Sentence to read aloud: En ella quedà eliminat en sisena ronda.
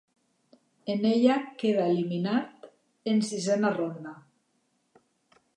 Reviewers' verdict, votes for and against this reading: rejected, 0, 2